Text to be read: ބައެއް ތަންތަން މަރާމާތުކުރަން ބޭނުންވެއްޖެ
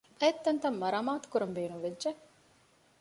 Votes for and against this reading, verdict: 2, 0, accepted